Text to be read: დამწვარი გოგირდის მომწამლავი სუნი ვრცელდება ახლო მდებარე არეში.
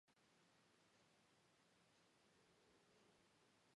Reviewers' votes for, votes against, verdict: 0, 2, rejected